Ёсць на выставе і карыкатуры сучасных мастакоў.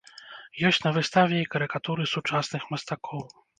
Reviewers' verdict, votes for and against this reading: accepted, 2, 0